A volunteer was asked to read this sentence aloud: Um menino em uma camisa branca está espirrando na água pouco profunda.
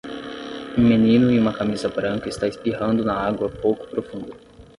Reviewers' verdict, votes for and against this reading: rejected, 3, 3